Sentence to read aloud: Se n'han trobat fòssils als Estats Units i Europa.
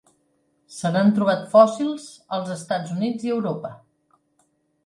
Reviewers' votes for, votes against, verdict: 3, 0, accepted